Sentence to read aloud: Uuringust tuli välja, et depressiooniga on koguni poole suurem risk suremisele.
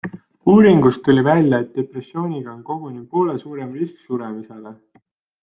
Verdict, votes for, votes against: accepted, 2, 0